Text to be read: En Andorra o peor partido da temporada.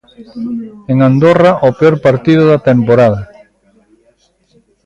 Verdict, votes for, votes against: rejected, 0, 2